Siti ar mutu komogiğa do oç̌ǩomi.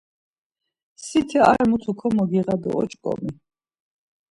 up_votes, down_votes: 2, 0